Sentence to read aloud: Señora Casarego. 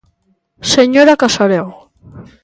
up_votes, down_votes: 2, 0